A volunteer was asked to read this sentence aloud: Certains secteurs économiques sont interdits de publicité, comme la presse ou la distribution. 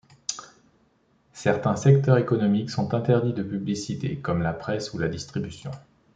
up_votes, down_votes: 2, 0